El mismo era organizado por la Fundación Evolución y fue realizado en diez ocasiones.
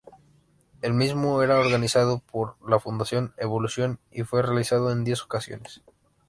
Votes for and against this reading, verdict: 2, 1, accepted